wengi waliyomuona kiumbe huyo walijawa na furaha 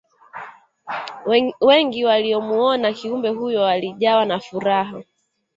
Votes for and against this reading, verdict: 2, 1, accepted